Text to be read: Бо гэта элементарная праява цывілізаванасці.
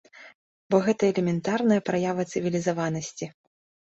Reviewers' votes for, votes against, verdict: 2, 0, accepted